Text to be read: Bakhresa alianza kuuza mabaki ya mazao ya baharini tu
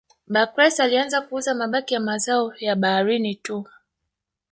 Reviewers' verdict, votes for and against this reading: rejected, 0, 2